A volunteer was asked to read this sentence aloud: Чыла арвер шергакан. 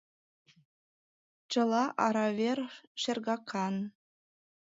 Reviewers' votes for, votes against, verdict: 0, 2, rejected